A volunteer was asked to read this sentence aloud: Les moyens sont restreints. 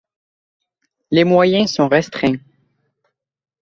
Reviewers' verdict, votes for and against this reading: accepted, 2, 0